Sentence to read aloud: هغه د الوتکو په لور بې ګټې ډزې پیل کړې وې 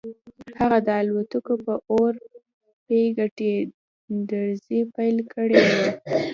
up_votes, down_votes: 2, 0